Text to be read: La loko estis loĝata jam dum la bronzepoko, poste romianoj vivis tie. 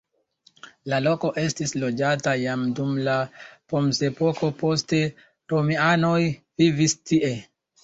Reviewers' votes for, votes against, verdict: 2, 0, accepted